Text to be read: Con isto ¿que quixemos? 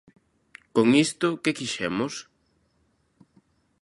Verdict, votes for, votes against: accepted, 2, 0